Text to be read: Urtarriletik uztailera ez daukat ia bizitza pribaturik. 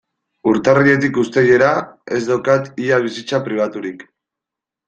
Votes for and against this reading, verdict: 2, 0, accepted